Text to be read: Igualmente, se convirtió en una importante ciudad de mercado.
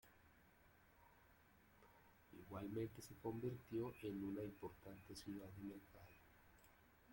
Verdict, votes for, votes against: rejected, 0, 2